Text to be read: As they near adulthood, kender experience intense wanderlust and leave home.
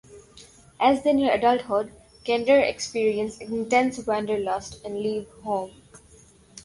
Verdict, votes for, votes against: accepted, 2, 0